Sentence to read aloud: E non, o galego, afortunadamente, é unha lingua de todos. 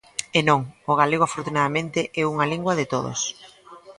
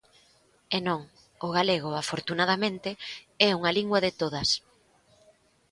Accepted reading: first